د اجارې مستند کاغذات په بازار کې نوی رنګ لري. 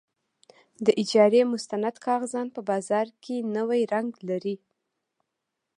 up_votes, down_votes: 2, 0